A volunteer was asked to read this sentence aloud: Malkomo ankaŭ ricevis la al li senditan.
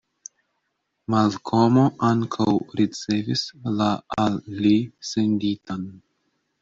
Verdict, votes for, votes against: accepted, 2, 0